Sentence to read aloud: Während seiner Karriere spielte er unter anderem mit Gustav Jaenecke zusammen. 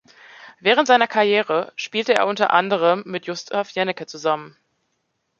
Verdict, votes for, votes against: rejected, 0, 2